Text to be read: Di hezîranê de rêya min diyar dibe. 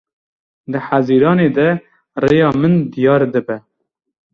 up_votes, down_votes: 2, 0